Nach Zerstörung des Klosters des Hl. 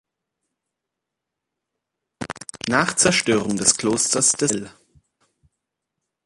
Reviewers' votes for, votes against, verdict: 0, 2, rejected